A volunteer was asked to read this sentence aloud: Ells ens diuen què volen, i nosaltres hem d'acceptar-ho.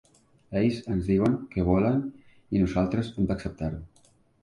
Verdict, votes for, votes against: accepted, 2, 0